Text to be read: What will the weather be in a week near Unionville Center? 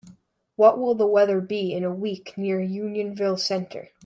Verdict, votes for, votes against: accepted, 2, 0